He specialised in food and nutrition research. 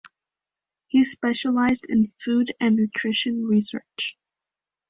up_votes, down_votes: 2, 0